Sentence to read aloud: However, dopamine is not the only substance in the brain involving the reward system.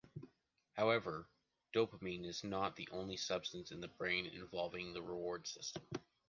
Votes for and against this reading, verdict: 2, 0, accepted